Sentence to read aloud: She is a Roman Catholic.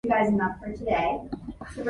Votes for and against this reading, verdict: 0, 2, rejected